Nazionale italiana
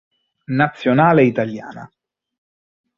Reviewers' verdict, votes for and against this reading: accepted, 3, 0